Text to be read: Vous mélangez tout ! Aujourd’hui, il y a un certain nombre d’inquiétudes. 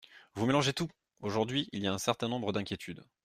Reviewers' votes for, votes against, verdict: 2, 0, accepted